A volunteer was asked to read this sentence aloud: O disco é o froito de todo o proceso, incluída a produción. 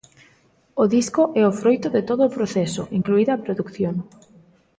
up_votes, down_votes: 0, 2